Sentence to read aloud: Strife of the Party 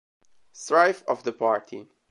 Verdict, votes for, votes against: accepted, 2, 0